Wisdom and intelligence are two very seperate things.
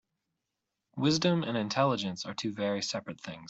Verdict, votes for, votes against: accepted, 4, 0